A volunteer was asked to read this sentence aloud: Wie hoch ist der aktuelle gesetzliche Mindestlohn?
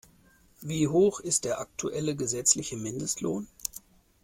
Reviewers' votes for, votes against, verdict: 2, 0, accepted